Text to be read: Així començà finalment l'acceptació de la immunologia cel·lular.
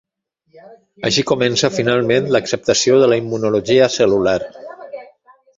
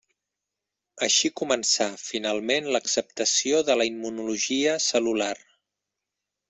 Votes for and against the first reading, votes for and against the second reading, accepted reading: 1, 2, 3, 0, second